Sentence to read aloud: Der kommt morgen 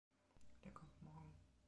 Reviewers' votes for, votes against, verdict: 0, 2, rejected